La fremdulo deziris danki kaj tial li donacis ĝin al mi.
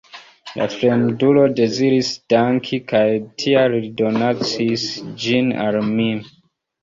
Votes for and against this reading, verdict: 2, 1, accepted